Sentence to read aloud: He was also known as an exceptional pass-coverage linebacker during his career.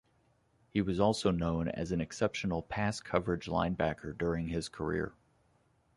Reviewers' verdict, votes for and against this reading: accepted, 2, 0